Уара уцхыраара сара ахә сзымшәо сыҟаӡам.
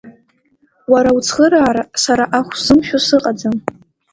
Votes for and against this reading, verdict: 2, 0, accepted